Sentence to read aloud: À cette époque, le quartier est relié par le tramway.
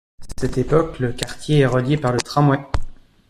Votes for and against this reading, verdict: 1, 2, rejected